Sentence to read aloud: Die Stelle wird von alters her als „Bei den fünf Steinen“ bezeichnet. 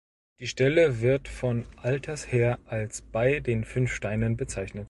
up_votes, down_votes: 1, 2